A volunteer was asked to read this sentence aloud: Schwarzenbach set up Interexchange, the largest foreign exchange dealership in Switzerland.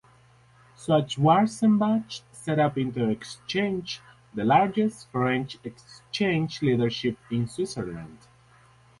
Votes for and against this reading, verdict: 2, 2, rejected